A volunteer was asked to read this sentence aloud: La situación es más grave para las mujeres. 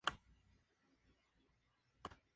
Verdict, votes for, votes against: rejected, 2, 4